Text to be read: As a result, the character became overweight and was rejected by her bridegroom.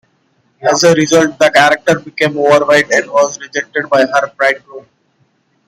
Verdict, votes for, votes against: rejected, 1, 2